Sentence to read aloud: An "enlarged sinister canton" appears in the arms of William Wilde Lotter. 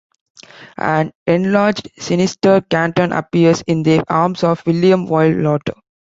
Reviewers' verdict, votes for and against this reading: rejected, 1, 2